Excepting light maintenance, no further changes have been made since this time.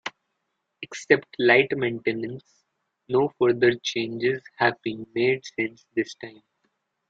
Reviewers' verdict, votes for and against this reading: rejected, 1, 2